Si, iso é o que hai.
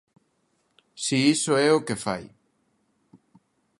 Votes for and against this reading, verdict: 0, 2, rejected